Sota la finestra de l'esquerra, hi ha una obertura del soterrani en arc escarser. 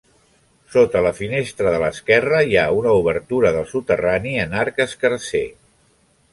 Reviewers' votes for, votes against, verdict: 2, 0, accepted